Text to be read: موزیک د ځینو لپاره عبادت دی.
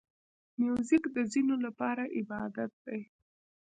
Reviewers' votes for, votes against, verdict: 1, 2, rejected